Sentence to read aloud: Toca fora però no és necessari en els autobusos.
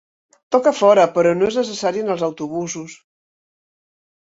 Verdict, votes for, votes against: accepted, 5, 0